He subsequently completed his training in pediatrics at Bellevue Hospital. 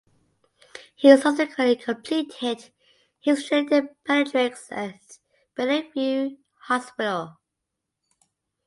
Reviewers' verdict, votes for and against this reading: rejected, 0, 2